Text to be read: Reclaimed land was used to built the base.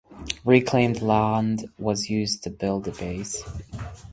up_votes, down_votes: 2, 0